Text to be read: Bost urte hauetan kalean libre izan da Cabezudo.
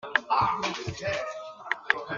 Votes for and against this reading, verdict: 0, 2, rejected